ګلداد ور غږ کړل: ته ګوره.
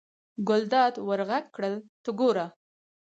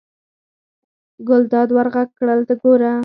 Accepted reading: first